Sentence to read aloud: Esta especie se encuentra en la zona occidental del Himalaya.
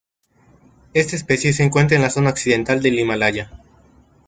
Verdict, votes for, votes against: accepted, 2, 0